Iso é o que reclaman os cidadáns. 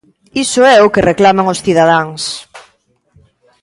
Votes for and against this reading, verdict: 2, 0, accepted